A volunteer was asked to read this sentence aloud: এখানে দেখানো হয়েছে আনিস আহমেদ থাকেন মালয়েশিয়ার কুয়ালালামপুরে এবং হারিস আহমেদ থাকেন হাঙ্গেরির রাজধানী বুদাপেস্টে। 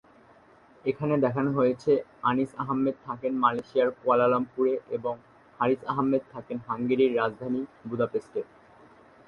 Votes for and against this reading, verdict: 3, 1, accepted